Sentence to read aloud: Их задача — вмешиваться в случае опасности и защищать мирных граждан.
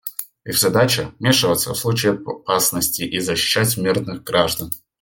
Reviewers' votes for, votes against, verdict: 1, 2, rejected